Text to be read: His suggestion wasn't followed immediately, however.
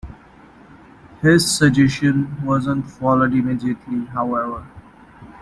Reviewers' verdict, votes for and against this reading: accepted, 2, 0